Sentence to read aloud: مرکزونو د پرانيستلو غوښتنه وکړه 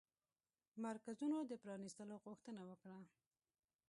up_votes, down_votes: 1, 2